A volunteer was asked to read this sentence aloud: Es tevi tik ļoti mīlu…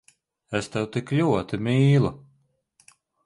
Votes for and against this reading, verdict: 2, 0, accepted